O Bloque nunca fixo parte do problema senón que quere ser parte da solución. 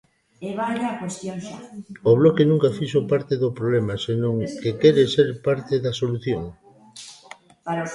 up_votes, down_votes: 2, 0